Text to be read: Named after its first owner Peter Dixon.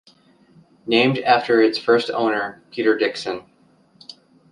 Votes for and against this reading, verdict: 2, 0, accepted